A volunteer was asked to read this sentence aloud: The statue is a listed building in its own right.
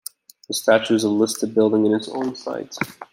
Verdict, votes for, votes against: rejected, 0, 2